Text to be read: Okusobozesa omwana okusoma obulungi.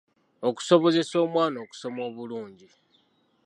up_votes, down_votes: 2, 0